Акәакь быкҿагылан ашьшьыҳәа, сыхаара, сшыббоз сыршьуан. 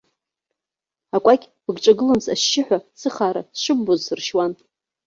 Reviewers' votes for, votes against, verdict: 0, 2, rejected